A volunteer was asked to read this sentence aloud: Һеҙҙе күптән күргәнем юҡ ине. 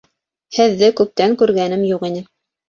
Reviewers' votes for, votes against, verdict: 2, 0, accepted